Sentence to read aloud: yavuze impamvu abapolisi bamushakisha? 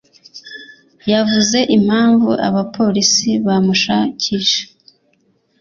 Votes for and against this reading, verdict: 2, 0, accepted